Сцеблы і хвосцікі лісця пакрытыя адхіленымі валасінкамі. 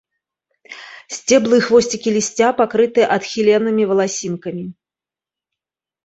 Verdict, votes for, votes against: rejected, 1, 2